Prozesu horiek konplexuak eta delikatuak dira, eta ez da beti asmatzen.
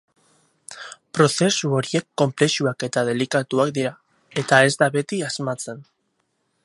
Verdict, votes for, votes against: rejected, 2, 2